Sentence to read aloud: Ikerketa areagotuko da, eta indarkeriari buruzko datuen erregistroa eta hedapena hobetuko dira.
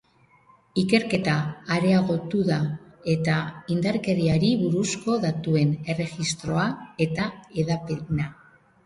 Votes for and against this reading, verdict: 0, 2, rejected